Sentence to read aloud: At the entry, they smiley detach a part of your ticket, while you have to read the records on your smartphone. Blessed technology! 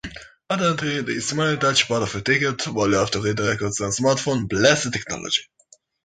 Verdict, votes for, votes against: rejected, 1, 2